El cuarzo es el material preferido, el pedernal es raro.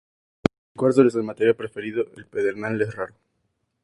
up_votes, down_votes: 2, 0